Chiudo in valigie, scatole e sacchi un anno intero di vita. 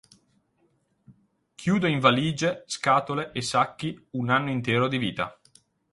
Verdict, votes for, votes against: accepted, 6, 0